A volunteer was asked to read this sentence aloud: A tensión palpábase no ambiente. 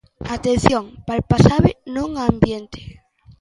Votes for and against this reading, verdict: 0, 2, rejected